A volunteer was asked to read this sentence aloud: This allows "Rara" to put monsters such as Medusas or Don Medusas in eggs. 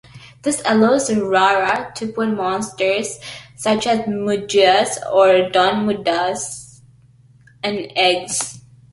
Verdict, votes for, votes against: accepted, 2, 0